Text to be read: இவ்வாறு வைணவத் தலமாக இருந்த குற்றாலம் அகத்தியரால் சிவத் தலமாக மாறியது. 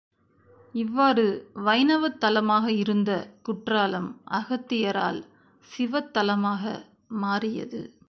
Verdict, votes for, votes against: accepted, 2, 0